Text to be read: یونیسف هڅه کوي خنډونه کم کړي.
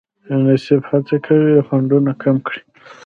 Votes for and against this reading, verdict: 1, 2, rejected